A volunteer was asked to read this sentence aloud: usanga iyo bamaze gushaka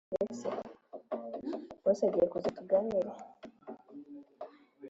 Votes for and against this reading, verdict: 0, 3, rejected